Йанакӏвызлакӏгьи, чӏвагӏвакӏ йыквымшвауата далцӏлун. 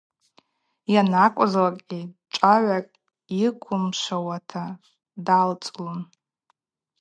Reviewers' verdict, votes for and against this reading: accepted, 4, 0